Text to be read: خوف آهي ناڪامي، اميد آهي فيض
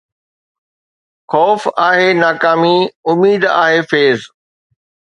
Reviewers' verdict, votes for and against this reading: accepted, 2, 0